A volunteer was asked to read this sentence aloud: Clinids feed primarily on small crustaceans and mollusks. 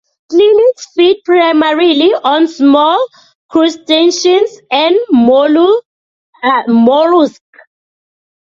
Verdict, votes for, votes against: rejected, 0, 2